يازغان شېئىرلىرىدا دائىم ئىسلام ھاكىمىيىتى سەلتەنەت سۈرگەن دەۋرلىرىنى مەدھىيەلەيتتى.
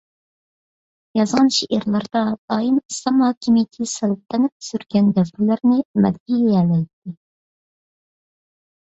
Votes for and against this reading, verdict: 1, 2, rejected